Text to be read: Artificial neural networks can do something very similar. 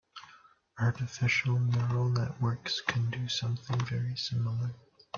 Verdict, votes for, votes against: accepted, 2, 0